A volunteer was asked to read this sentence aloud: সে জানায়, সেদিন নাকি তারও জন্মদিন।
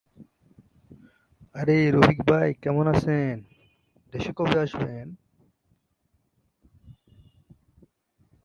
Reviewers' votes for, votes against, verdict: 0, 2, rejected